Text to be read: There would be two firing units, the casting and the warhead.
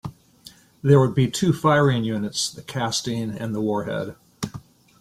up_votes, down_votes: 2, 0